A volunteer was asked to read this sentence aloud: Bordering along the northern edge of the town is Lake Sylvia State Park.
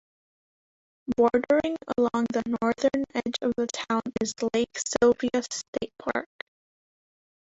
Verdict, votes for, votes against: rejected, 0, 2